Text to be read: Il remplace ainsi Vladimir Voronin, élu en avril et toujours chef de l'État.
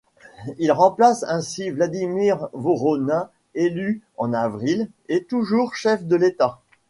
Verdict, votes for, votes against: accepted, 2, 0